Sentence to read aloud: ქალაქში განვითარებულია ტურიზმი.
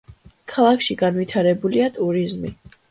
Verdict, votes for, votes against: accepted, 2, 0